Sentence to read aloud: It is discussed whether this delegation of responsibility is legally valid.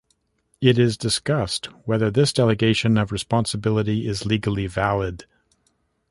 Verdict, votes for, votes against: accepted, 2, 0